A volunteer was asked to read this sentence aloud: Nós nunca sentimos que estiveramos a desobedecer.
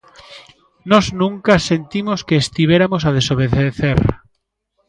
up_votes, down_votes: 0, 2